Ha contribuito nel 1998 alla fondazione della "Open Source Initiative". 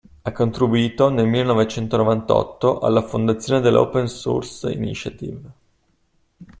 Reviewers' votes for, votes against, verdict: 0, 2, rejected